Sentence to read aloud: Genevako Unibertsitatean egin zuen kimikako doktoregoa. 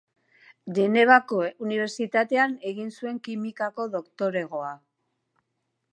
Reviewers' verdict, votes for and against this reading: accepted, 2, 1